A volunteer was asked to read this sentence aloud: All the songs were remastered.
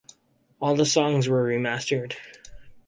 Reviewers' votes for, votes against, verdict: 4, 0, accepted